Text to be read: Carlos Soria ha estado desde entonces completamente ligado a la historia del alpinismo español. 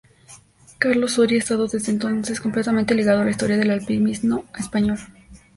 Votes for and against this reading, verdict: 2, 0, accepted